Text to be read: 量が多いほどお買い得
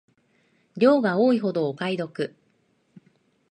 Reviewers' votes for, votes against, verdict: 2, 0, accepted